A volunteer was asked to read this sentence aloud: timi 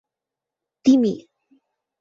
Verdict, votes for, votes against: accepted, 2, 1